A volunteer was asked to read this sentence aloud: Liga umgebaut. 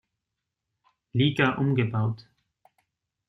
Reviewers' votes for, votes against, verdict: 2, 0, accepted